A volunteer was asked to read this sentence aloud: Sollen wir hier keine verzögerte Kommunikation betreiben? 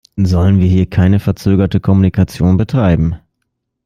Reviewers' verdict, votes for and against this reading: accepted, 2, 0